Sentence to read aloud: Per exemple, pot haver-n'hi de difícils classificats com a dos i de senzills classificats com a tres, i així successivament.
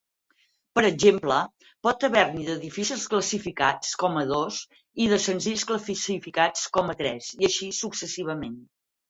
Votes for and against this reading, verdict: 2, 4, rejected